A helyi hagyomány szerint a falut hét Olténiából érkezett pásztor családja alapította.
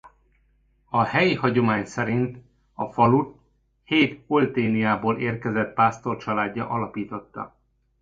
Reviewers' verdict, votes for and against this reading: accepted, 2, 0